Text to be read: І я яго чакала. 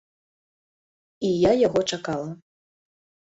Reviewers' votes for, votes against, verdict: 2, 0, accepted